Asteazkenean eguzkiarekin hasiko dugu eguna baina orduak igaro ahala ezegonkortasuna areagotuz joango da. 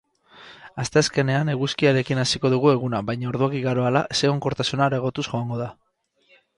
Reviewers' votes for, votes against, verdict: 2, 4, rejected